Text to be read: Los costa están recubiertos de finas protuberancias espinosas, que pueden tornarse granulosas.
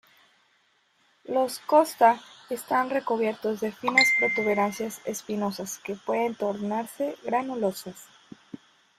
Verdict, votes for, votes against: rejected, 1, 2